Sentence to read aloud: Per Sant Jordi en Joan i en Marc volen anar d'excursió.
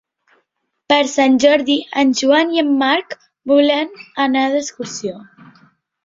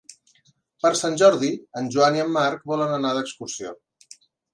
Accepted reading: second